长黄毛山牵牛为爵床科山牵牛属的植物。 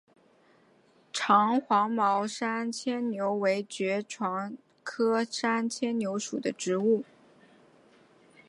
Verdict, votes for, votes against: accepted, 2, 0